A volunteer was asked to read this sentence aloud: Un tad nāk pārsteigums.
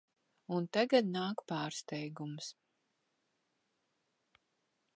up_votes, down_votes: 0, 2